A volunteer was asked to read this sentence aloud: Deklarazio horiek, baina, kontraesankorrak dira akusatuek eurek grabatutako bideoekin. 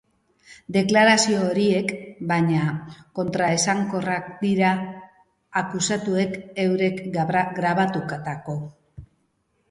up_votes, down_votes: 0, 2